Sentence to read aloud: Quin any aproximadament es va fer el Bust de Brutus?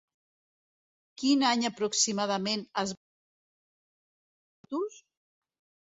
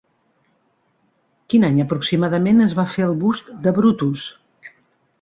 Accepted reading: second